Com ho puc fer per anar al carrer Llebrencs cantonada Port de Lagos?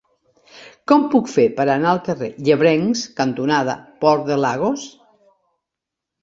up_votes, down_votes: 0, 2